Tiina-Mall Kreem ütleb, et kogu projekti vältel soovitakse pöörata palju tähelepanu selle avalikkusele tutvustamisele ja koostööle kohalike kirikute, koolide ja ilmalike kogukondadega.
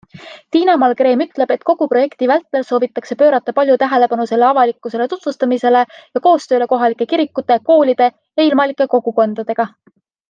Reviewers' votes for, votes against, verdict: 2, 0, accepted